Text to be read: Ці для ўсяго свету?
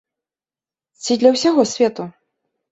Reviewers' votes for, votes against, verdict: 2, 0, accepted